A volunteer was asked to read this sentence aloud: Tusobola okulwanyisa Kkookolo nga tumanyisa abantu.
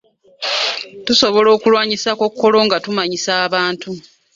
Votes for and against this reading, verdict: 2, 0, accepted